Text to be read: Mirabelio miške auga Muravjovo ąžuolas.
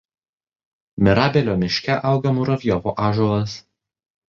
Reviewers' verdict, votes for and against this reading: accepted, 2, 0